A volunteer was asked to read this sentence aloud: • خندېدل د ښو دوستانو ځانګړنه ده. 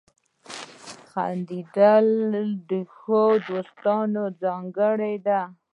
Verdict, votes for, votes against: rejected, 0, 2